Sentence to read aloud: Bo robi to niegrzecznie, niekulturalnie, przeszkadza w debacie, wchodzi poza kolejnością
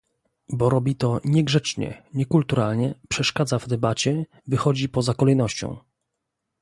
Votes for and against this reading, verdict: 0, 2, rejected